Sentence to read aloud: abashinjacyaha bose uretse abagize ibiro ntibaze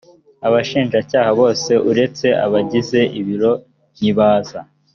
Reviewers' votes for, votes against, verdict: 0, 2, rejected